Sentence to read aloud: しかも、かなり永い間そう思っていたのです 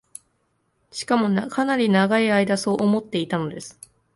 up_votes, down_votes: 1, 2